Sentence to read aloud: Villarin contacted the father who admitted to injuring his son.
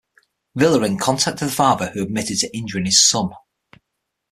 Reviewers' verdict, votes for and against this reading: accepted, 6, 0